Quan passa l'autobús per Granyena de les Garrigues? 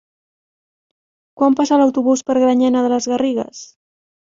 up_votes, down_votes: 3, 0